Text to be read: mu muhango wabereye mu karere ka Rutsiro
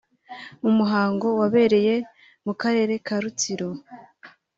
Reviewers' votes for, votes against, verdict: 3, 0, accepted